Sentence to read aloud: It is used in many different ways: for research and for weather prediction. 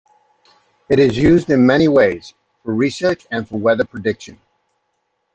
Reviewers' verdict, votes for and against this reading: rejected, 0, 2